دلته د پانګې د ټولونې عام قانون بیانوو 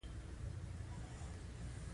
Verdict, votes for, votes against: rejected, 1, 2